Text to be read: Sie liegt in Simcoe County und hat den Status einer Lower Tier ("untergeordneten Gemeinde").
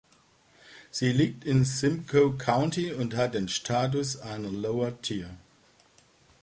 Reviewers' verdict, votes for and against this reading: rejected, 0, 3